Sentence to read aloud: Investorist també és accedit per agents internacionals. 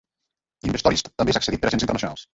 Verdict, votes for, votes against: rejected, 1, 3